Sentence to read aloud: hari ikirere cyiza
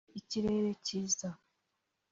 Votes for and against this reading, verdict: 1, 2, rejected